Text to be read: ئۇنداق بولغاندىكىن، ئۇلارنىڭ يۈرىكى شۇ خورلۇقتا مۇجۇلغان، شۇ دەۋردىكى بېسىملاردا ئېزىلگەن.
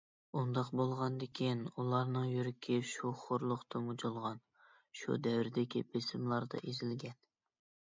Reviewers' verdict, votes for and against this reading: accepted, 2, 0